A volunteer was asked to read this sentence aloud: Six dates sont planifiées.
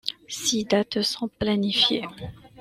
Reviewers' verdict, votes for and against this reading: accepted, 2, 0